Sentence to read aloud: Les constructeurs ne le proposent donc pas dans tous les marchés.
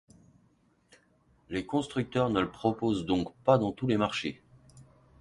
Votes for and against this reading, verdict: 2, 0, accepted